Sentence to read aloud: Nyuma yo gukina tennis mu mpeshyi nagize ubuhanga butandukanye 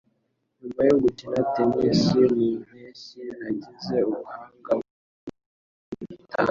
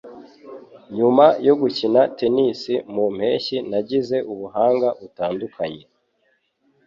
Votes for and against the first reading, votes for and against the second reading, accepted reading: 1, 2, 3, 0, second